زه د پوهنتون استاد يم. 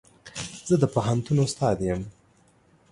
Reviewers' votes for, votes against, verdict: 2, 0, accepted